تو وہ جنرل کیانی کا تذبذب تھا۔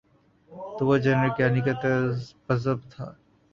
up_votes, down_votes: 0, 2